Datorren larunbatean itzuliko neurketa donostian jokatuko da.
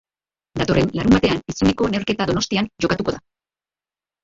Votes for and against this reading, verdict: 2, 2, rejected